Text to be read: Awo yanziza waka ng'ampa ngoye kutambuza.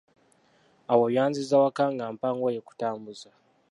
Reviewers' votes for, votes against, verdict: 2, 0, accepted